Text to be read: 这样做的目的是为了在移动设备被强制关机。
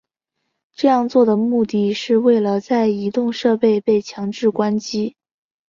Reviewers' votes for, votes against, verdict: 4, 0, accepted